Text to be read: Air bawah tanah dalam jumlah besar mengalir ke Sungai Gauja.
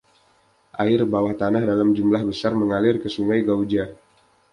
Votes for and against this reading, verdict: 2, 0, accepted